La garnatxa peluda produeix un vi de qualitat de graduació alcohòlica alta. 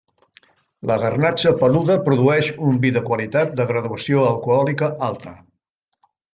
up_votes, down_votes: 3, 0